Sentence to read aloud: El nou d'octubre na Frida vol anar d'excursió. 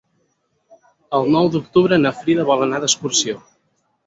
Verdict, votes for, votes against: accepted, 4, 0